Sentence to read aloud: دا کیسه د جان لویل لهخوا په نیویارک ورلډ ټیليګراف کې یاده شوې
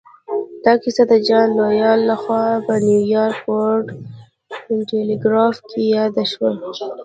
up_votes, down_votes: 2, 0